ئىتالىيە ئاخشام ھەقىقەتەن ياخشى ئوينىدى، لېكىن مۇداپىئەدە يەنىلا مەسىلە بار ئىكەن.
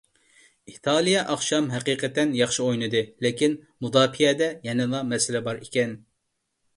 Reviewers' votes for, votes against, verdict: 2, 0, accepted